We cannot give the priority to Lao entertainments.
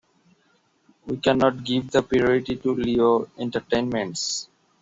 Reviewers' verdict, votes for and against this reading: accepted, 2, 0